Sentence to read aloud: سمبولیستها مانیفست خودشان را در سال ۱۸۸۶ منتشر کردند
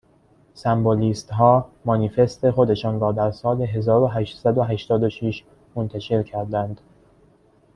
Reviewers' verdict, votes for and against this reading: rejected, 0, 2